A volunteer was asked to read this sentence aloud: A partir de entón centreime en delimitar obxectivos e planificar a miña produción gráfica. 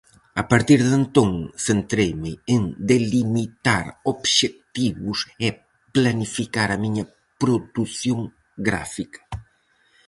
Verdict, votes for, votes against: rejected, 2, 2